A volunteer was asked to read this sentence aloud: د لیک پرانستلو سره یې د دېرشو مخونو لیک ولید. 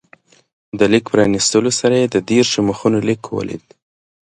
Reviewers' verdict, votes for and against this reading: accepted, 2, 0